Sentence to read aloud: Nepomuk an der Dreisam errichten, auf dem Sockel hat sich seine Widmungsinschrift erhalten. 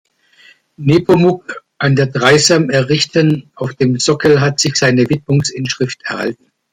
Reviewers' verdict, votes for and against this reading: accepted, 2, 0